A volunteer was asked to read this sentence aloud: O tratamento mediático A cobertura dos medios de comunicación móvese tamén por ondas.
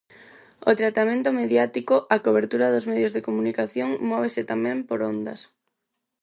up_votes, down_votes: 4, 0